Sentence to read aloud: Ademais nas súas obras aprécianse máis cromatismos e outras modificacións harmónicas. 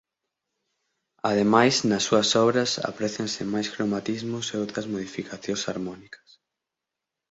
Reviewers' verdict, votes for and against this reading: accepted, 6, 0